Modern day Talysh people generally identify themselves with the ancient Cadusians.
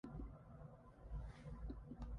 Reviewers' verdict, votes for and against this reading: rejected, 0, 2